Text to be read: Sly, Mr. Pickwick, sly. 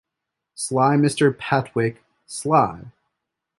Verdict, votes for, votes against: rejected, 1, 2